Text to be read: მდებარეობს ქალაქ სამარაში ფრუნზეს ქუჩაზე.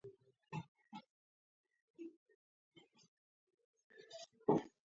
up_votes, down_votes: 0, 2